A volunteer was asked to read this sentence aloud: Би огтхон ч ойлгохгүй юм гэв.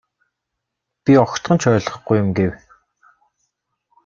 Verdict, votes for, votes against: accepted, 2, 1